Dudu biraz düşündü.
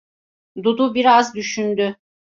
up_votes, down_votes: 2, 0